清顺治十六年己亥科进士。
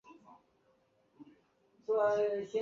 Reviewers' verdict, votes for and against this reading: rejected, 0, 2